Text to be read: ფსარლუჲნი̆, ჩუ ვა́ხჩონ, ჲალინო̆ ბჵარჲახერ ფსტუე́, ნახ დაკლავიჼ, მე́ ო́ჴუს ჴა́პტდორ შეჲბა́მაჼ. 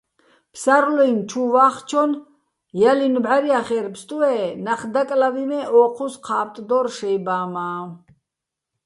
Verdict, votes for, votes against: rejected, 0, 2